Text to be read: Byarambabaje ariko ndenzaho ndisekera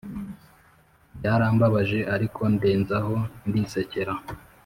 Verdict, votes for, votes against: accepted, 3, 0